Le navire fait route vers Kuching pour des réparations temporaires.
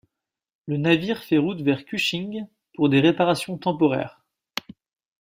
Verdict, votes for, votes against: accepted, 2, 0